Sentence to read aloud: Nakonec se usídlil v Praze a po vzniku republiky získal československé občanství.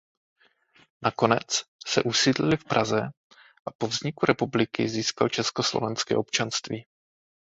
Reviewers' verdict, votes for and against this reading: rejected, 0, 2